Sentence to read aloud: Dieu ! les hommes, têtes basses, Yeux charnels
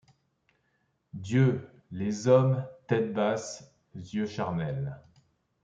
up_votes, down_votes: 2, 0